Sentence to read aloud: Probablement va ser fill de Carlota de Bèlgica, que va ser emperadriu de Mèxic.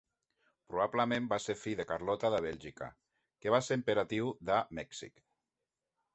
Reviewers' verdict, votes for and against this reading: rejected, 0, 2